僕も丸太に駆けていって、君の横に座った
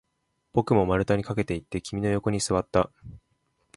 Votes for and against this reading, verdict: 1, 2, rejected